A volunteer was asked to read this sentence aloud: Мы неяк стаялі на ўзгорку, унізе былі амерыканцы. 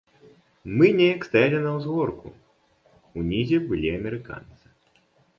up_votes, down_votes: 2, 0